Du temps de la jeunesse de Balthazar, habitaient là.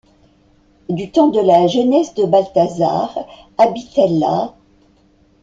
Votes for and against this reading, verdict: 2, 0, accepted